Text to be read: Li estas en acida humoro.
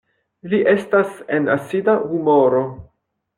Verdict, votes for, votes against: rejected, 0, 2